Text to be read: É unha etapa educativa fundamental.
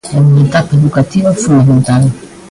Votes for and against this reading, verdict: 0, 2, rejected